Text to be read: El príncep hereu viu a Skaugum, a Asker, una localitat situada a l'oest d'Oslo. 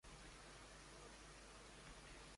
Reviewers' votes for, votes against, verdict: 0, 3, rejected